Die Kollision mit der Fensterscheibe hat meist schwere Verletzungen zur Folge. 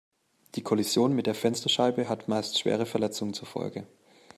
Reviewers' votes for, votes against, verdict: 2, 0, accepted